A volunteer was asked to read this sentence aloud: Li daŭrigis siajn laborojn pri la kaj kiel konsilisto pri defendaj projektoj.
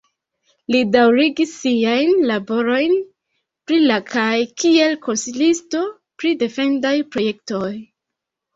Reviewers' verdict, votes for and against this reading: rejected, 1, 2